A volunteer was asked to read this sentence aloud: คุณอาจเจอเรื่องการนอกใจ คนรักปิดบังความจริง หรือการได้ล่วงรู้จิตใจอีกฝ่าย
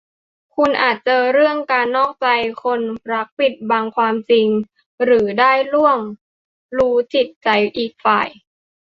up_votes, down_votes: 0, 2